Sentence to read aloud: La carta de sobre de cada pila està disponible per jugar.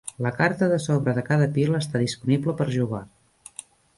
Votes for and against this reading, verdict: 2, 1, accepted